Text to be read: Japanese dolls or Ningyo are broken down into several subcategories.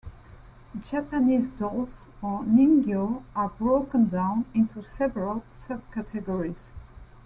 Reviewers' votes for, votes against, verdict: 2, 0, accepted